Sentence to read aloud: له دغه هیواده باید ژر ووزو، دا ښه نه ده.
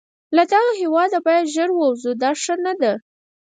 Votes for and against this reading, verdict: 2, 4, rejected